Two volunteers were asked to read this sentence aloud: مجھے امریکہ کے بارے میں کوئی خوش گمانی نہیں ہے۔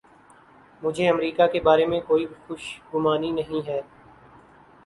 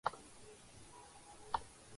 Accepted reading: first